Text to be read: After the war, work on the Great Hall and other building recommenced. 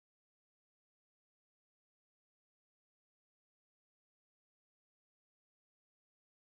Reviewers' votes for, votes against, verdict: 0, 2, rejected